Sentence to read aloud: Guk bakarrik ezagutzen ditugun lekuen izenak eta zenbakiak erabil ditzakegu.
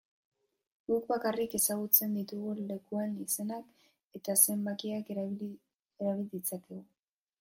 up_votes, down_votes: 0, 3